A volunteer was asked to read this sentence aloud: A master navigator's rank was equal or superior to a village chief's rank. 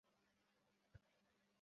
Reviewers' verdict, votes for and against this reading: rejected, 0, 2